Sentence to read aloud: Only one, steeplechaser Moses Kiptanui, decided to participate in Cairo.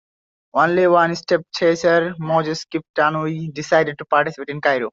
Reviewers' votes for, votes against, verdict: 0, 2, rejected